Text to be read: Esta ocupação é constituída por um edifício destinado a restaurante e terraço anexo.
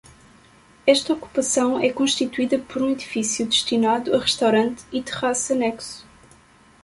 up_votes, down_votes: 2, 1